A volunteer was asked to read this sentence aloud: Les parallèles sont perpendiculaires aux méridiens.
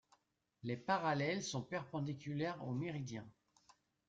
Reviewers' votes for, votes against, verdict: 1, 2, rejected